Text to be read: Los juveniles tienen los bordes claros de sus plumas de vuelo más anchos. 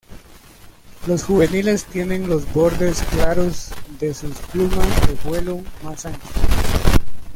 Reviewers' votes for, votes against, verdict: 2, 1, accepted